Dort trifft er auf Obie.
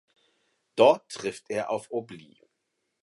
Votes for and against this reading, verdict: 0, 4, rejected